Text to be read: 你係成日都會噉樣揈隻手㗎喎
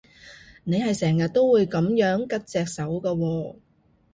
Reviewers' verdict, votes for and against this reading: rejected, 1, 2